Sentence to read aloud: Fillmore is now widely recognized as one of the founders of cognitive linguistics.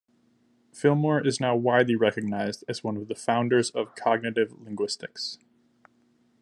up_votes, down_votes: 2, 0